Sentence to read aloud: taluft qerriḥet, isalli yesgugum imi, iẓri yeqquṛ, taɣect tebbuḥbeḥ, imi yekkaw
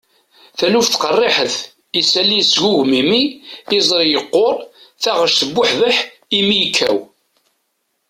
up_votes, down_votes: 2, 1